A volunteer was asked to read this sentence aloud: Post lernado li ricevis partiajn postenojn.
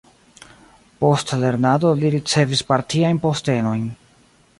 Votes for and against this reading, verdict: 2, 0, accepted